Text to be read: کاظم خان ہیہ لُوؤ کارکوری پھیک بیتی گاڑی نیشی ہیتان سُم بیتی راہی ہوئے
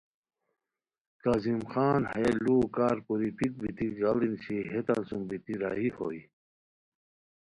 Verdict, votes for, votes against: accepted, 2, 0